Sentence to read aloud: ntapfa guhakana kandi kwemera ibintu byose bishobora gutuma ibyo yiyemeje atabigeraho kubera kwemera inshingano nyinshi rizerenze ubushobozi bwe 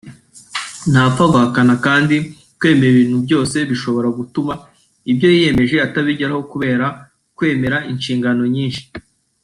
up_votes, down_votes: 0, 2